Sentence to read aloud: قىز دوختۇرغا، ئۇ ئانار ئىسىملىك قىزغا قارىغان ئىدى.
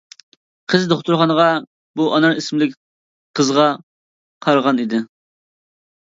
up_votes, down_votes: 0, 2